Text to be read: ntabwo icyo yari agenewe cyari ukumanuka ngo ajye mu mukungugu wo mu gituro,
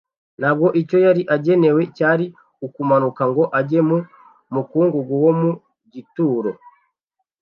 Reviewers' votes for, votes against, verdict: 2, 0, accepted